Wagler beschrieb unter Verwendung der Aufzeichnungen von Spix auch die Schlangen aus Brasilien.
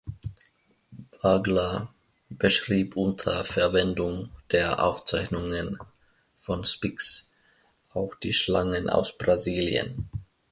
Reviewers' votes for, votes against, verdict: 2, 0, accepted